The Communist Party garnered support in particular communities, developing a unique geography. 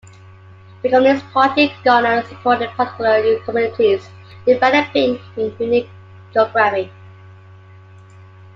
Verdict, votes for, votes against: accepted, 2, 1